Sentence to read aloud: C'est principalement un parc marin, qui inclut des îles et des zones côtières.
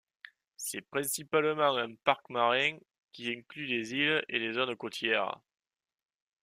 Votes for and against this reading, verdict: 2, 0, accepted